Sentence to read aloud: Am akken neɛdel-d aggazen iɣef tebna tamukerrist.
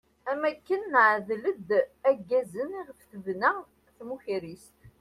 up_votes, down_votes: 2, 0